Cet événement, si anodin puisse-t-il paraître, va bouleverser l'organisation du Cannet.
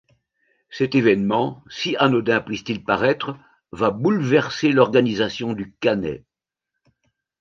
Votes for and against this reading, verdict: 2, 0, accepted